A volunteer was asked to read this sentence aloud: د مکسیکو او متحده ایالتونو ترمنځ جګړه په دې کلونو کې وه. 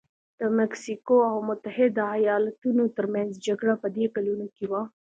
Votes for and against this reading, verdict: 2, 1, accepted